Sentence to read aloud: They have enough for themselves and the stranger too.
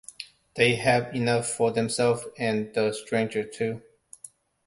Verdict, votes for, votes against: accepted, 2, 1